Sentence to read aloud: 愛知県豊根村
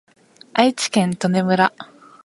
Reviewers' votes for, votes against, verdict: 2, 0, accepted